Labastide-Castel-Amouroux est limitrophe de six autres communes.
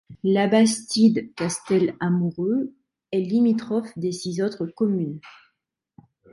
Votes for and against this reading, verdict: 2, 0, accepted